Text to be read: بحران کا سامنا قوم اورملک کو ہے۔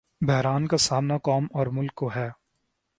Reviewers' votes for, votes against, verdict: 0, 2, rejected